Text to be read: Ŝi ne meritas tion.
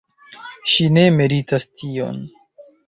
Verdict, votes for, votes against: accepted, 2, 0